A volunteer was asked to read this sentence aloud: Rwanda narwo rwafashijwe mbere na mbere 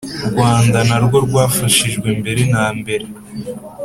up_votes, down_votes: 2, 0